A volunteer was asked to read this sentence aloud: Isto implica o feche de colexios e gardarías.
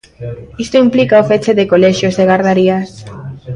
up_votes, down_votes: 2, 0